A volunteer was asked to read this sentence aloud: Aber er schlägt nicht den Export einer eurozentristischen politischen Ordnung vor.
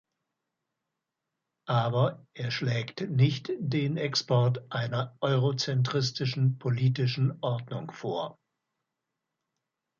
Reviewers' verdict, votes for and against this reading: accepted, 2, 0